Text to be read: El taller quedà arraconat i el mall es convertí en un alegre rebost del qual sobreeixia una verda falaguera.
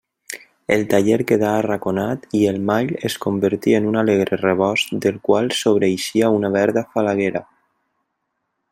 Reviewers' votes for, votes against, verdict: 2, 0, accepted